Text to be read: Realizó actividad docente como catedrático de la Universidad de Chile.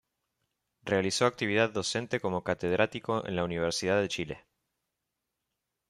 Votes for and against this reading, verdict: 0, 2, rejected